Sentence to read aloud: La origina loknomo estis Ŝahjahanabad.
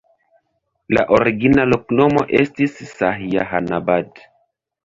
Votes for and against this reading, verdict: 1, 2, rejected